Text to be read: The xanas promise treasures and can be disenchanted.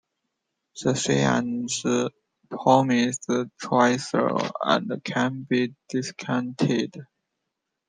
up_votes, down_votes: 0, 2